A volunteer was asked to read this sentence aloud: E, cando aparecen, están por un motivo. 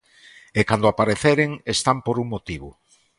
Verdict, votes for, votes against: rejected, 0, 2